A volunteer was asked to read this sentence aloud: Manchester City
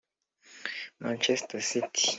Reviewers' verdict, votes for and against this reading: accepted, 2, 0